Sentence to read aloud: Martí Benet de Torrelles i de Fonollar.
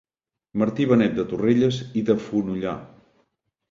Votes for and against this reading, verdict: 2, 0, accepted